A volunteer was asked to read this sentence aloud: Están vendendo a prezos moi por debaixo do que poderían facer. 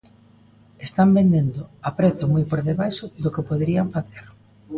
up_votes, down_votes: 0, 2